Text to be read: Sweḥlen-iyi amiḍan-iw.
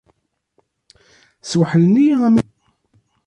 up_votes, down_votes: 1, 2